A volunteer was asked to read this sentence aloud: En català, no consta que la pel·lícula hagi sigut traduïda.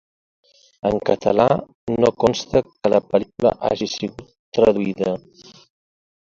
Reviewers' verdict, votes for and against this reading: rejected, 1, 2